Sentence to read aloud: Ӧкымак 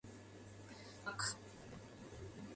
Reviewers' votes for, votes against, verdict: 0, 2, rejected